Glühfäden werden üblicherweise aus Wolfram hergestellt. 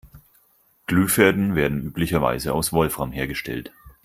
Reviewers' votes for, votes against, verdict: 4, 0, accepted